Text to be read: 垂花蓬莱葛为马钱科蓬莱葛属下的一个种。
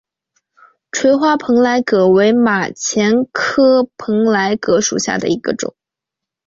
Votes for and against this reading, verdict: 3, 0, accepted